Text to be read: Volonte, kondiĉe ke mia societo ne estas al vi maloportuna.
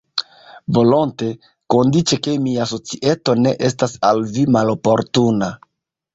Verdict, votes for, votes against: accepted, 2, 0